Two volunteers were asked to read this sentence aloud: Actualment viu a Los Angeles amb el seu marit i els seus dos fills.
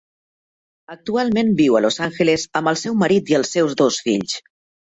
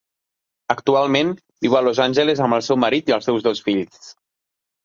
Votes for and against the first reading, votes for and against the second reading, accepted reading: 0, 2, 4, 0, second